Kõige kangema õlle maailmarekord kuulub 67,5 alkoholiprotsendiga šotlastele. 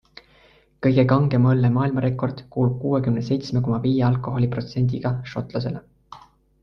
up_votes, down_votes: 0, 2